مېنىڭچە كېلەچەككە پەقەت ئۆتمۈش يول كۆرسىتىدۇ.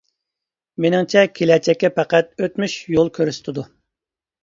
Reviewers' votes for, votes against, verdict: 2, 1, accepted